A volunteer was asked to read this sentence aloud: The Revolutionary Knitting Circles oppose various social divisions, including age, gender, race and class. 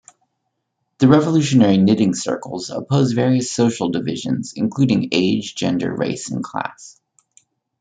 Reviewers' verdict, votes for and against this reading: accepted, 2, 0